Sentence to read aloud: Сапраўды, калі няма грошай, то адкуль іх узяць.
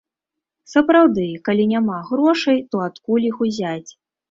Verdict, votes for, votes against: accepted, 3, 0